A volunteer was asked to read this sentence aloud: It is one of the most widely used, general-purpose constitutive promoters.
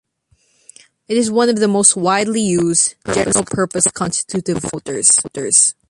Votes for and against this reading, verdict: 1, 2, rejected